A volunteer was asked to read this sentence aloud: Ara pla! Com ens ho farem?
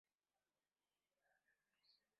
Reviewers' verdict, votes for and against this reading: rejected, 0, 2